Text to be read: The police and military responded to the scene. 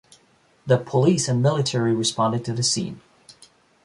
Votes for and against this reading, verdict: 2, 0, accepted